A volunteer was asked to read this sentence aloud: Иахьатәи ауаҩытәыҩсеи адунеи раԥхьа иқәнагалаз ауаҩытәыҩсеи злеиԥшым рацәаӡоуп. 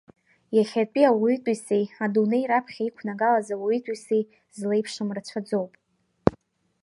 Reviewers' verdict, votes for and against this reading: accepted, 2, 0